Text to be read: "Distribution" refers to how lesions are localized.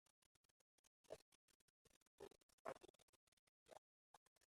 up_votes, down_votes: 0, 2